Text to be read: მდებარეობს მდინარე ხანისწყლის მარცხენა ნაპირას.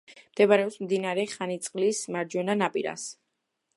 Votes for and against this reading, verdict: 1, 2, rejected